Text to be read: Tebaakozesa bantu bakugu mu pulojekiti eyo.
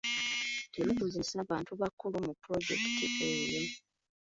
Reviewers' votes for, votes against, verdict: 0, 2, rejected